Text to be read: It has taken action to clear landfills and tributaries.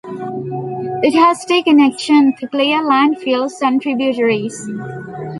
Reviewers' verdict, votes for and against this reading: accepted, 2, 1